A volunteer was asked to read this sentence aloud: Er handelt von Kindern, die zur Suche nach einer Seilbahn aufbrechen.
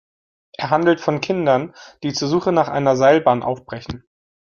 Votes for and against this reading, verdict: 2, 0, accepted